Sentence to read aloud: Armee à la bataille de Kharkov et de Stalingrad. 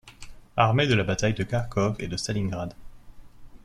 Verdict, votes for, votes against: rejected, 0, 2